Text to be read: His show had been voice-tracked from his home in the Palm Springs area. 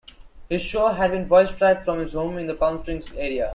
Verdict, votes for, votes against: accepted, 2, 0